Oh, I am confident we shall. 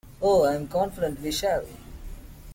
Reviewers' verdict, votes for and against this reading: accepted, 2, 0